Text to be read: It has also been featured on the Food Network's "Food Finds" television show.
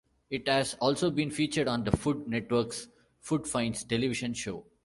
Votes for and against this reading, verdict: 2, 0, accepted